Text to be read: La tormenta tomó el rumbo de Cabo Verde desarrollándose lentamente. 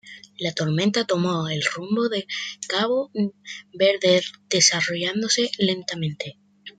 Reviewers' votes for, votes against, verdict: 1, 2, rejected